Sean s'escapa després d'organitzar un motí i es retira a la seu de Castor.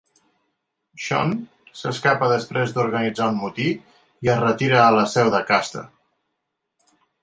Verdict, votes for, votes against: accepted, 2, 0